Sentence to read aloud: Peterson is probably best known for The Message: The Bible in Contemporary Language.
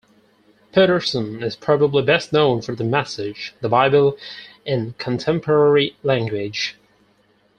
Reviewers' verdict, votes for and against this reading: accepted, 4, 0